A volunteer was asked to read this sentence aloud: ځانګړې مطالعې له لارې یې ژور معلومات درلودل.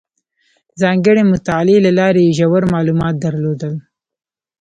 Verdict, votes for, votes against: rejected, 1, 2